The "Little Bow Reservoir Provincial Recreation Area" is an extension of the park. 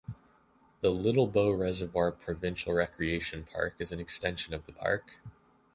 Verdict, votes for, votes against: rejected, 1, 2